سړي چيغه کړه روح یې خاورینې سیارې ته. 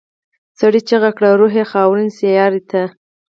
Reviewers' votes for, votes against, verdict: 0, 4, rejected